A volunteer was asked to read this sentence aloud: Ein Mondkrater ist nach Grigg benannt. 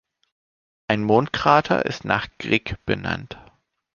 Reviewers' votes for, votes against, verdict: 2, 0, accepted